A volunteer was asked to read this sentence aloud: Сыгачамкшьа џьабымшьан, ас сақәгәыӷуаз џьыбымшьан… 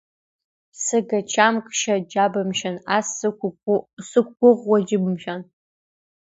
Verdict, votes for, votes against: rejected, 1, 2